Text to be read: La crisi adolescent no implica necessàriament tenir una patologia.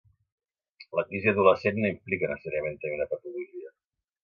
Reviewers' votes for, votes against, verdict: 0, 2, rejected